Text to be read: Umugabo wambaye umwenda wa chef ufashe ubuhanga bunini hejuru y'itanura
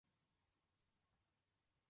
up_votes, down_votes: 0, 2